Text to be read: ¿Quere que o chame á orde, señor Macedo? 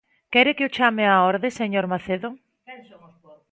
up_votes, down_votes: 0, 2